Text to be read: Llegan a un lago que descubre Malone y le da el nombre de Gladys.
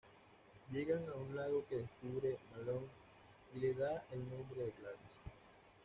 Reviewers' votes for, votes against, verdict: 2, 1, accepted